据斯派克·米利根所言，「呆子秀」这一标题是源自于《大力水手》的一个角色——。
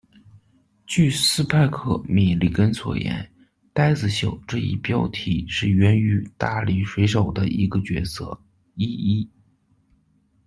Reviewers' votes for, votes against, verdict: 1, 2, rejected